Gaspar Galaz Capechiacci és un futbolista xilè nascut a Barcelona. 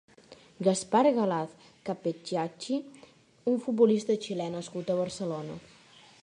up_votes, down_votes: 0, 2